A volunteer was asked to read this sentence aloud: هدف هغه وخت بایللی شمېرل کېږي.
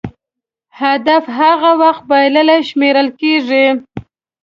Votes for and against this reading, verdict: 2, 0, accepted